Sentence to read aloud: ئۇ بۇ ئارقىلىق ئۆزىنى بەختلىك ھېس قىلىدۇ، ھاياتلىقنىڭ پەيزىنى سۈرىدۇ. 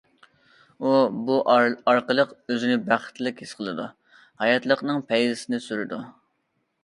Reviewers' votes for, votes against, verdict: 0, 2, rejected